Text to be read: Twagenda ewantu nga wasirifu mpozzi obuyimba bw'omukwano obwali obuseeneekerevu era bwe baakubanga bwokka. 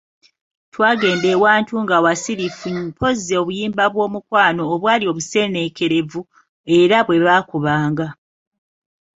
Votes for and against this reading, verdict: 0, 2, rejected